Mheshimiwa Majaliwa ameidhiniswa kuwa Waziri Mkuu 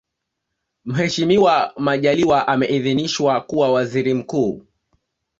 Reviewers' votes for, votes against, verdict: 2, 1, accepted